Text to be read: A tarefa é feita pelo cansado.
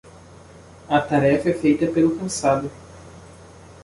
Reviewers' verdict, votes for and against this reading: accepted, 2, 1